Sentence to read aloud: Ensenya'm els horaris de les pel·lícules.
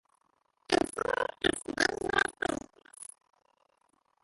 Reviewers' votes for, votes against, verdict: 0, 2, rejected